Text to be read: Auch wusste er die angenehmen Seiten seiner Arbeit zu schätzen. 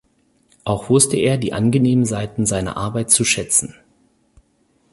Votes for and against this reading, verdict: 2, 4, rejected